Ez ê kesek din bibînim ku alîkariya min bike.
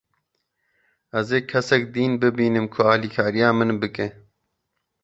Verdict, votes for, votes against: rejected, 1, 2